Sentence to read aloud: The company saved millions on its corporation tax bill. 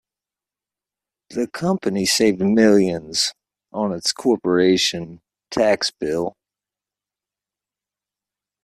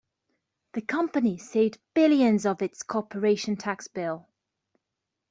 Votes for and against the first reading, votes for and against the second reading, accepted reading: 2, 0, 0, 2, first